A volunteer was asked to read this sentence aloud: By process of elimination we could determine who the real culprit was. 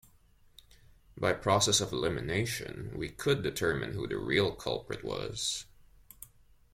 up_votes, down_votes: 2, 0